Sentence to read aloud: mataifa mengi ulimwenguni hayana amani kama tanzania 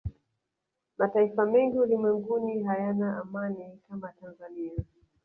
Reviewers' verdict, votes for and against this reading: rejected, 1, 2